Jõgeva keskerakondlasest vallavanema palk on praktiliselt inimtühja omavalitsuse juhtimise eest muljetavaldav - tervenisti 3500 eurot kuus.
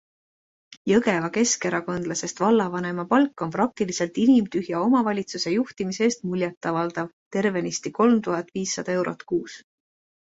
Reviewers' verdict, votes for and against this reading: rejected, 0, 2